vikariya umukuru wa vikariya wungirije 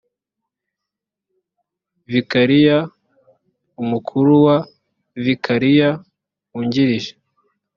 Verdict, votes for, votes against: accepted, 2, 0